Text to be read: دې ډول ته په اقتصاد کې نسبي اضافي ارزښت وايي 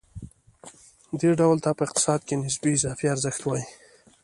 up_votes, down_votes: 2, 0